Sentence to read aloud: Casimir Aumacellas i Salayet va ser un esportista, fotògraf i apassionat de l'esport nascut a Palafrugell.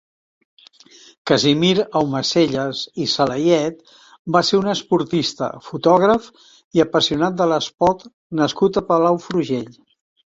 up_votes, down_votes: 0, 2